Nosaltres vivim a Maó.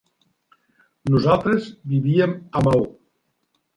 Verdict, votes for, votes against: rejected, 0, 2